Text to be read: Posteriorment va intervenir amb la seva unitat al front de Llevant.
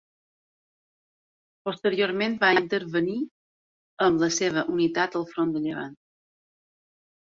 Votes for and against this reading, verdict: 3, 0, accepted